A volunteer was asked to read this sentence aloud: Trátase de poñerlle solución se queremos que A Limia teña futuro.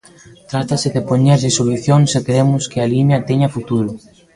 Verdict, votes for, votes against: rejected, 0, 2